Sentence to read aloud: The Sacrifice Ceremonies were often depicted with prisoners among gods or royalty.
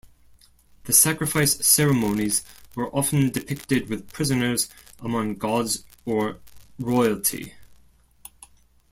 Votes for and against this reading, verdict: 0, 2, rejected